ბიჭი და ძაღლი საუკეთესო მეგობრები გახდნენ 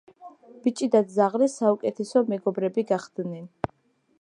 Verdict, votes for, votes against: accepted, 2, 0